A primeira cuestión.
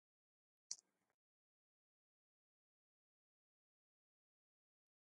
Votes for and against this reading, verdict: 0, 2, rejected